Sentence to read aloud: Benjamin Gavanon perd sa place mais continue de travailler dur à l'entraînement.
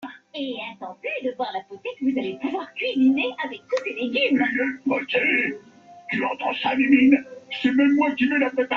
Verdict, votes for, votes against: rejected, 0, 2